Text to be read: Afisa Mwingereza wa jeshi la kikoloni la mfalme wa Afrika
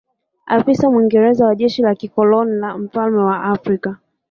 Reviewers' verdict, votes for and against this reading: rejected, 1, 2